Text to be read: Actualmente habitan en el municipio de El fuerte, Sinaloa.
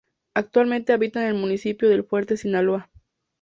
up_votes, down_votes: 2, 0